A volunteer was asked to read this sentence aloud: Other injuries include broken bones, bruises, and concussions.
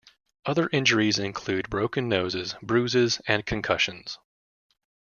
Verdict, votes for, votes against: rejected, 0, 2